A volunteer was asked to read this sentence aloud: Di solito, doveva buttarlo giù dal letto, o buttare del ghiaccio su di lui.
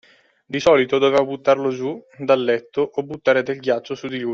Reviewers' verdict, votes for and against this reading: rejected, 1, 2